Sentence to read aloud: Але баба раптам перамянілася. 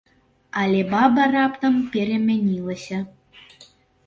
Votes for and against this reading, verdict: 3, 0, accepted